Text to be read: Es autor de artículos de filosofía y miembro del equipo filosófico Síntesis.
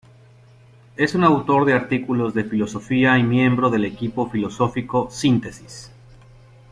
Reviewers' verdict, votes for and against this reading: rejected, 0, 2